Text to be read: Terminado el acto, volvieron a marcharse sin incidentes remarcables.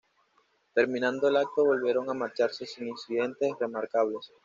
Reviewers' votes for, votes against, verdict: 1, 2, rejected